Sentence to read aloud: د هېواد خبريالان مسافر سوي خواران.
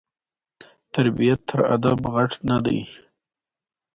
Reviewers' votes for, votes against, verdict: 1, 2, rejected